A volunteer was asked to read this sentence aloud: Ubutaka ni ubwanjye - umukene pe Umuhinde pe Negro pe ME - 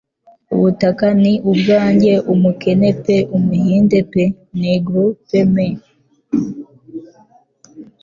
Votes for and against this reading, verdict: 2, 0, accepted